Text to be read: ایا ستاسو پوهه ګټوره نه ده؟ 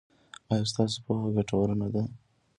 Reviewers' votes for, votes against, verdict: 2, 1, accepted